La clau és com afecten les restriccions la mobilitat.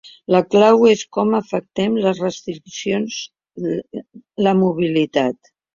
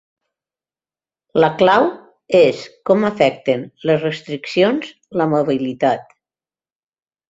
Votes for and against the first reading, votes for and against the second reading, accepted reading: 1, 2, 5, 0, second